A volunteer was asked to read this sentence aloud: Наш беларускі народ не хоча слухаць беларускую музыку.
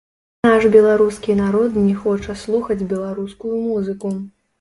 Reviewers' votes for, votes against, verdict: 0, 2, rejected